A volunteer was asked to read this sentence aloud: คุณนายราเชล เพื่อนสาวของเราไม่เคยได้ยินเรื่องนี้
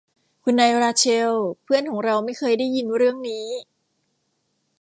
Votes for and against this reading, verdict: 1, 2, rejected